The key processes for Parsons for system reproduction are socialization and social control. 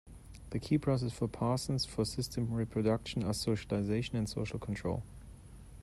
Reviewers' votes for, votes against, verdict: 1, 2, rejected